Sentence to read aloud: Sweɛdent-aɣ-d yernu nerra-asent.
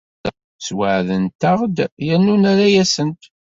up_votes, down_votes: 2, 0